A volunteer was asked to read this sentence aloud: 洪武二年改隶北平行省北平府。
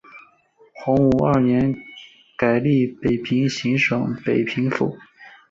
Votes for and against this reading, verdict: 0, 2, rejected